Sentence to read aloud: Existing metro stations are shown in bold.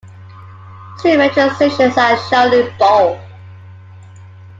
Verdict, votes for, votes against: rejected, 0, 2